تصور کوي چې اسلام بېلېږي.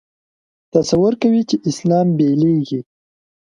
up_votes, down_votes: 2, 0